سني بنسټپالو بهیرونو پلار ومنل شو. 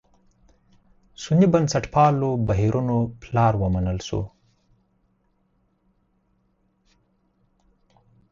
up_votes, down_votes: 4, 2